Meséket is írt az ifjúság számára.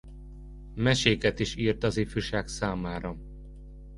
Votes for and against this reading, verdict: 2, 0, accepted